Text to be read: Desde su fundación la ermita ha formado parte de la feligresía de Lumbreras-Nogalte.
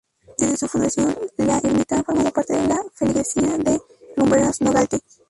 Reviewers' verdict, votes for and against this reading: rejected, 0, 4